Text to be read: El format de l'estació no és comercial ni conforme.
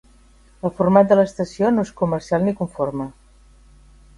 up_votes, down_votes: 3, 0